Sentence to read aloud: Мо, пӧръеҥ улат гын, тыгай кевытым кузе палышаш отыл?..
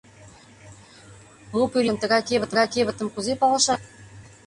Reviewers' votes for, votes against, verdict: 0, 2, rejected